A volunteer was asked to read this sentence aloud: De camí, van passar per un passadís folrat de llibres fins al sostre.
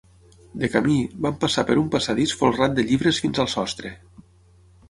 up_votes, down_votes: 9, 0